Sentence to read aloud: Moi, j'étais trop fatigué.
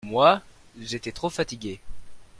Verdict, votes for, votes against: accepted, 2, 0